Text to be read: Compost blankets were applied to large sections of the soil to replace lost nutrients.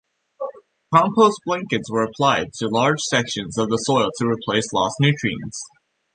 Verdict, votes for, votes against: accepted, 2, 0